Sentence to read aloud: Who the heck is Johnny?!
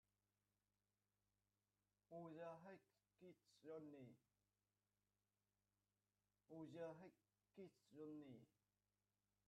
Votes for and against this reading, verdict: 0, 3, rejected